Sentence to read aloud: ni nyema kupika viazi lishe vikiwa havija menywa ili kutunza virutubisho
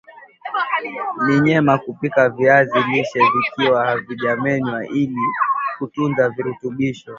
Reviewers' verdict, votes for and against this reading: rejected, 0, 3